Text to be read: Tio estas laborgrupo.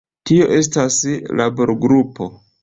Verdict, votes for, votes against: rejected, 1, 2